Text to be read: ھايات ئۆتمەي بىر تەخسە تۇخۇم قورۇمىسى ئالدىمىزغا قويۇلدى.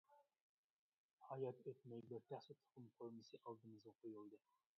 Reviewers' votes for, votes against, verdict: 0, 2, rejected